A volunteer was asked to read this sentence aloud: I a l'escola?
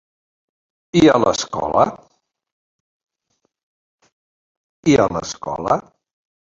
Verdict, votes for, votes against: rejected, 0, 2